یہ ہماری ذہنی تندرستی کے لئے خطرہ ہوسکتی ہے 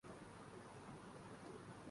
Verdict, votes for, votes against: rejected, 1, 9